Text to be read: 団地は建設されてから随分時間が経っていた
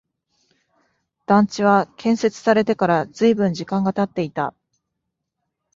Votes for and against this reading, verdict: 2, 0, accepted